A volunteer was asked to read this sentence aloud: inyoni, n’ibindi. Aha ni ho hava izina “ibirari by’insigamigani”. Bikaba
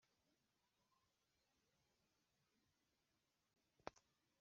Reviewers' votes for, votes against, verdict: 1, 3, rejected